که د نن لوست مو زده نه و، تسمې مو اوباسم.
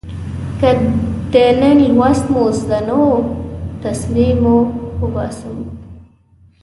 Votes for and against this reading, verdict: 1, 2, rejected